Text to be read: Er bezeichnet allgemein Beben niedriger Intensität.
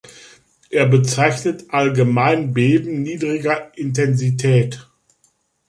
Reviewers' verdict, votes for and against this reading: accepted, 2, 0